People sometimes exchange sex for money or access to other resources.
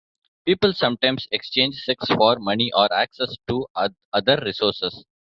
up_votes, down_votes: 1, 2